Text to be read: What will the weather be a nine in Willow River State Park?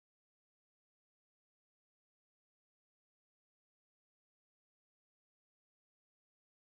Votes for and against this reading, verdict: 0, 2, rejected